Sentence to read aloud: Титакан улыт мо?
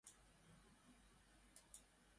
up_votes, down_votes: 0, 2